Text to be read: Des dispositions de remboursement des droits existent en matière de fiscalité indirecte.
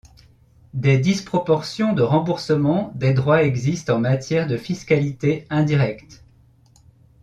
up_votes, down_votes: 0, 2